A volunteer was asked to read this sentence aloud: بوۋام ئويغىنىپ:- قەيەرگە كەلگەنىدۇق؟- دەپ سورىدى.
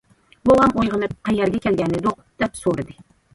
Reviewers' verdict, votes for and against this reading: accepted, 2, 0